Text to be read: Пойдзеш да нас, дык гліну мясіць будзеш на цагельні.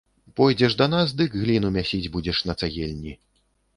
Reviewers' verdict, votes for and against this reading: accepted, 2, 0